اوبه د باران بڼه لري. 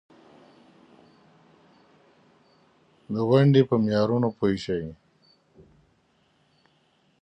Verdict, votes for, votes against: rejected, 0, 3